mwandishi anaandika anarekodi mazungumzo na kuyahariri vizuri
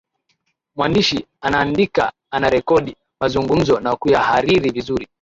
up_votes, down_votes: 2, 1